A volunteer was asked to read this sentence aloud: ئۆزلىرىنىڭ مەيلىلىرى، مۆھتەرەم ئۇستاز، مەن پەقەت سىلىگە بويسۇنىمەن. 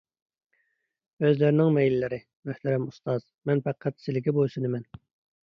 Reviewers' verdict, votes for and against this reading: accepted, 2, 0